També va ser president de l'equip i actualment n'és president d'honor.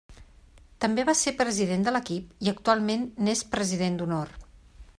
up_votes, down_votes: 3, 0